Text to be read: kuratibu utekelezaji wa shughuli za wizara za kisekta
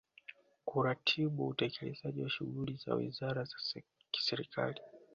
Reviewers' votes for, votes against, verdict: 1, 2, rejected